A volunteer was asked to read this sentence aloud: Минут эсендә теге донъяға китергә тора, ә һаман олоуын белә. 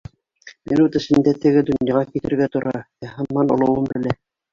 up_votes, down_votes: 1, 2